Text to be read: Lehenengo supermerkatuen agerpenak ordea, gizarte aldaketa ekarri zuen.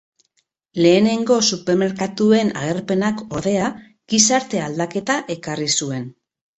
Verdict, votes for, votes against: rejected, 2, 2